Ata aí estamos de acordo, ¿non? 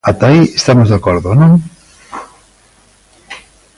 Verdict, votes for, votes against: accepted, 2, 0